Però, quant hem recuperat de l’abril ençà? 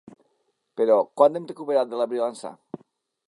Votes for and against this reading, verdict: 1, 2, rejected